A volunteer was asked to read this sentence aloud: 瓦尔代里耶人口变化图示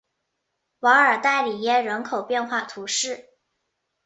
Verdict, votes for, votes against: accepted, 7, 0